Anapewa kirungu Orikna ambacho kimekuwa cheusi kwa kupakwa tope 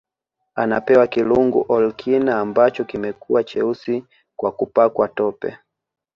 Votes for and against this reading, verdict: 2, 0, accepted